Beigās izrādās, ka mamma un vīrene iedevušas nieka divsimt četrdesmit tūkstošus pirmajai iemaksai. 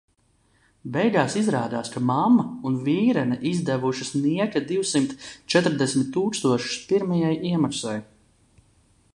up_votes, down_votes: 0, 2